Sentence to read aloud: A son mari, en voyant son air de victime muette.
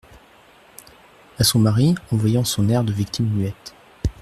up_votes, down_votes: 2, 0